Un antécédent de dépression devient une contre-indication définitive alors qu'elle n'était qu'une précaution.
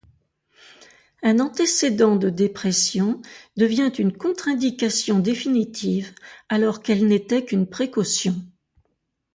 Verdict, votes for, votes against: accepted, 2, 0